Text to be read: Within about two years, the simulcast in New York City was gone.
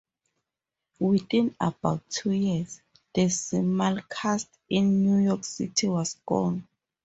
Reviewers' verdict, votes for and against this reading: accepted, 4, 0